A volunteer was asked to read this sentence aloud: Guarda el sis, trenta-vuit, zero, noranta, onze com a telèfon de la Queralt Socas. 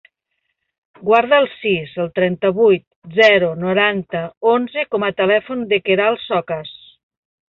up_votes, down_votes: 0, 2